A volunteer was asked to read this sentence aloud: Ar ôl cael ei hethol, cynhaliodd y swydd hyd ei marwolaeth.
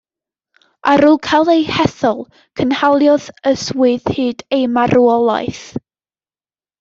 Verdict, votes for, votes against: accepted, 2, 0